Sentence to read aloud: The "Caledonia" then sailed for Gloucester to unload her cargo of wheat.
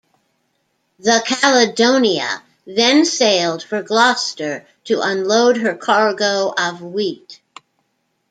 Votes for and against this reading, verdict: 0, 2, rejected